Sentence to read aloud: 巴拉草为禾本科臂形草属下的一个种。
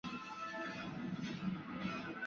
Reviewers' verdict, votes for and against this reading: rejected, 2, 3